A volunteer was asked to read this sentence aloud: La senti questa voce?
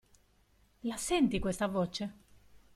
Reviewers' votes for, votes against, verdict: 2, 1, accepted